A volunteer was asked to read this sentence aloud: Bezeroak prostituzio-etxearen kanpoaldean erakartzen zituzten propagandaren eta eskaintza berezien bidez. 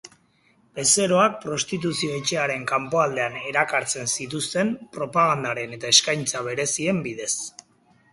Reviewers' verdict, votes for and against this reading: accepted, 4, 0